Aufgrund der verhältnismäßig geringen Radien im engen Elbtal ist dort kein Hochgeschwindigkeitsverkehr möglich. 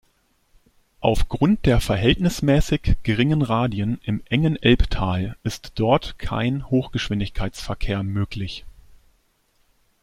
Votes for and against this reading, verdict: 2, 0, accepted